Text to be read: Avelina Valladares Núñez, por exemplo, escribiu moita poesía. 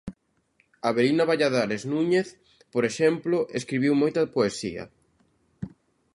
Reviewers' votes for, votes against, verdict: 2, 0, accepted